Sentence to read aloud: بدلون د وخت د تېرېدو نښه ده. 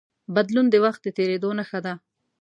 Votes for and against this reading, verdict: 1, 2, rejected